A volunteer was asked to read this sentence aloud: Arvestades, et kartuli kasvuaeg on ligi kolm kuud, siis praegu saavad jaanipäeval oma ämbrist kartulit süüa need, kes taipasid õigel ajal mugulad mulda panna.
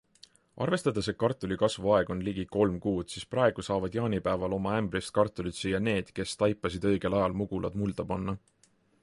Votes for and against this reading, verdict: 2, 0, accepted